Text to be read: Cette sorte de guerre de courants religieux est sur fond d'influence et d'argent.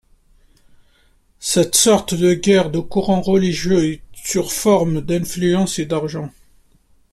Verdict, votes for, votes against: rejected, 0, 2